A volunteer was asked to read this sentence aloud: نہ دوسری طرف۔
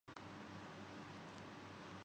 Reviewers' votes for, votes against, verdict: 0, 4, rejected